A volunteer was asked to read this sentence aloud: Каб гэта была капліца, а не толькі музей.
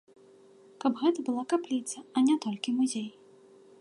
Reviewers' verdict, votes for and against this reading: accepted, 2, 0